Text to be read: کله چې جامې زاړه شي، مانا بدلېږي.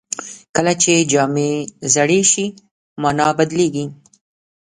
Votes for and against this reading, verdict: 1, 2, rejected